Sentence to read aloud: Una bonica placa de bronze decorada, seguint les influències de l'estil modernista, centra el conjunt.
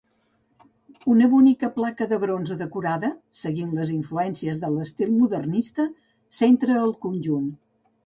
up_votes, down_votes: 2, 0